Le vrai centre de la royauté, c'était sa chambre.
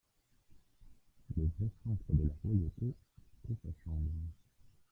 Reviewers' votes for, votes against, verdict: 0, 2, rejected